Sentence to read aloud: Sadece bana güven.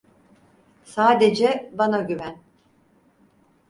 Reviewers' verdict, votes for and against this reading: accepted, 4, 0